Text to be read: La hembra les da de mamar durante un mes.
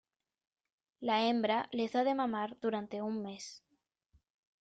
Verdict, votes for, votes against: accepted, 2, 0